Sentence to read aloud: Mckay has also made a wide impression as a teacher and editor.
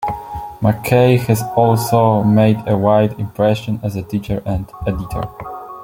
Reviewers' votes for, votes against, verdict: 2, 1, accepted